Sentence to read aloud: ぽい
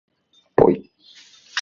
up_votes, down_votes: 3, 0